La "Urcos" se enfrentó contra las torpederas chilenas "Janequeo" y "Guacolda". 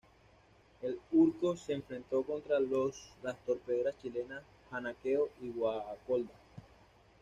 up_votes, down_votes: 1, 2